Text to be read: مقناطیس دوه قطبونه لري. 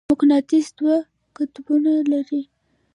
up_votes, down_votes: 2, 0